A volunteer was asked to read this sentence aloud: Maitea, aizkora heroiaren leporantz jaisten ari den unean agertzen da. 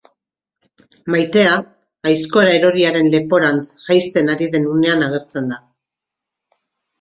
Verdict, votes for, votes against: rejected, 1, 2